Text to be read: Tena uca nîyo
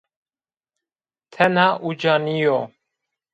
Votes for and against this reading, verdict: 1, 2, rejected